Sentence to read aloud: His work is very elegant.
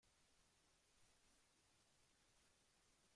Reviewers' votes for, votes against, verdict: 0, 2, rejected